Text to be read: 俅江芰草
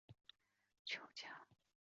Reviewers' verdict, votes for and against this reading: rejected, 0, 4